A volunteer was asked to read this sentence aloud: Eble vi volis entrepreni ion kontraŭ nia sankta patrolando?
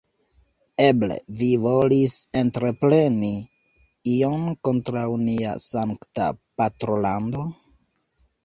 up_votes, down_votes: 1, 2